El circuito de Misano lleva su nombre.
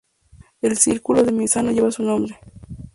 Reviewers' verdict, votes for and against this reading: rejected, 0, 2